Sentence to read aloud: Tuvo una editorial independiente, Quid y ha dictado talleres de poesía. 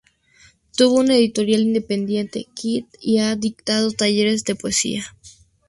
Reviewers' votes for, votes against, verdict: 2, 0, accepted